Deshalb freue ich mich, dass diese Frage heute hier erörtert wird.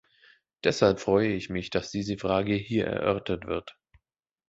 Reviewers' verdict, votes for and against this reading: rejected, 0, 2